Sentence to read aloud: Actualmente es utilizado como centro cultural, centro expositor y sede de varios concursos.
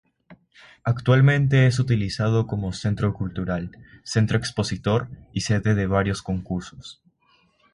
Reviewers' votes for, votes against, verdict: 3, 3, rejected